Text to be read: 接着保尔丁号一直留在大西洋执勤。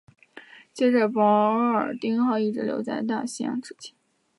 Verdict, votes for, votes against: accepted, 3, 2